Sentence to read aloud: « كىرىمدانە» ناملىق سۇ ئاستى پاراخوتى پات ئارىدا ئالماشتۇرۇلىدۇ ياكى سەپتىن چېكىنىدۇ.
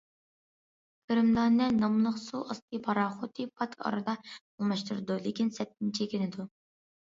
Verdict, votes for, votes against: rejected, 0, 2